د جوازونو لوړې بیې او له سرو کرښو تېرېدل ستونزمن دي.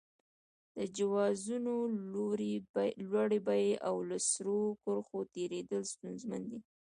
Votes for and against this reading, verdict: 1, 2, rejected